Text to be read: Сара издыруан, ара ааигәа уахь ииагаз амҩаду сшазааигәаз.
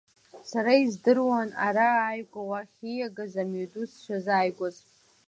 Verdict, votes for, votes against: accepted, 2, 0